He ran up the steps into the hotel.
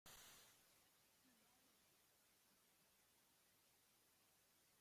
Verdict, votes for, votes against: rejected, 0, 2